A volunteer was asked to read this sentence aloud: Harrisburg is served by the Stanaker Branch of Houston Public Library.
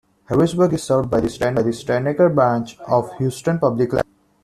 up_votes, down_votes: 0, 2